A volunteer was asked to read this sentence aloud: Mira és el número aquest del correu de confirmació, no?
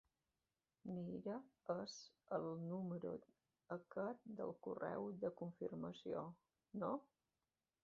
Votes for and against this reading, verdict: 0, 2, rejected